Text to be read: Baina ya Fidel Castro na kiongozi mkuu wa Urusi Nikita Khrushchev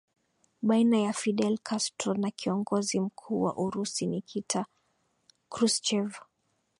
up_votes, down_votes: 0, 2